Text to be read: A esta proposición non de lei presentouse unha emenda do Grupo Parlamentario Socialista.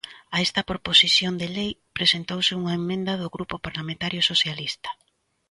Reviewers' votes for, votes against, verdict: 0, 2, rejected